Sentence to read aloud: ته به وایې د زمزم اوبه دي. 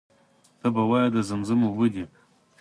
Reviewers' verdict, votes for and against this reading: accepted, 2, 0